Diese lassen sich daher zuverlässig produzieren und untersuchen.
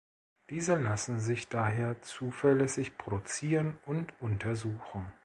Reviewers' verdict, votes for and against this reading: accepted, 2, 1